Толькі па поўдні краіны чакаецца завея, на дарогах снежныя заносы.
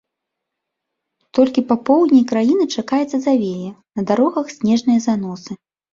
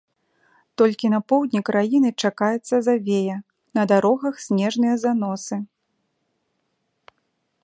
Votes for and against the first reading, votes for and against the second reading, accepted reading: 3, 0, 1, 2, first